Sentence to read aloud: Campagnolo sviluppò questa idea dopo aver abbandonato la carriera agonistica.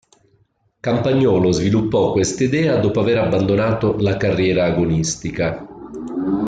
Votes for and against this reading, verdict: 2, 0, accepted